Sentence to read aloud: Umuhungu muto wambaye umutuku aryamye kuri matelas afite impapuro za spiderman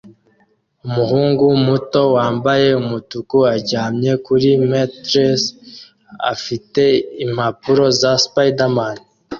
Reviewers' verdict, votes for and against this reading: accepted, 2, 0